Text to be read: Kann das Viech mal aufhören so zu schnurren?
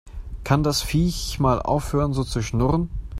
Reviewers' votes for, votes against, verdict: 2, 0, accepted